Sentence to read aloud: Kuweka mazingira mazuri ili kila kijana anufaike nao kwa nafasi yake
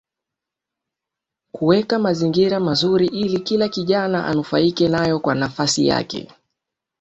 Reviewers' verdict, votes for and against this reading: rejected, 0, 2